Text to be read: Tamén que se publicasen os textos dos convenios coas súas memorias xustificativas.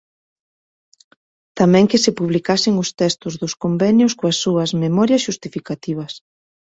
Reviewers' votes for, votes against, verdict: 2, 0, accepted